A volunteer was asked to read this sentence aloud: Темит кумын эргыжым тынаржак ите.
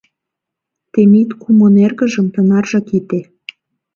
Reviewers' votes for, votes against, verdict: 2, 0, accepted